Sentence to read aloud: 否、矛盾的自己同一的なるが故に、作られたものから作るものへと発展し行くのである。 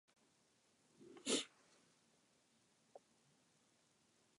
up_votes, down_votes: 0, 2